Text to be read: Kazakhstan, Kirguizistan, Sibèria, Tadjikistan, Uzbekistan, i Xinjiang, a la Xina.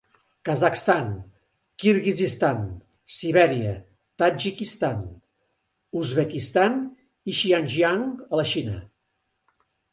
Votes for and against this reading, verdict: 2, 0, accepted